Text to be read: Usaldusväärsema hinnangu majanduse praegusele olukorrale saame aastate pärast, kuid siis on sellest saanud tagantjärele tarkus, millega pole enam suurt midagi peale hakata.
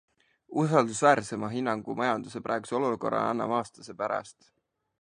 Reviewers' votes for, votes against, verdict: 0, 2, rejected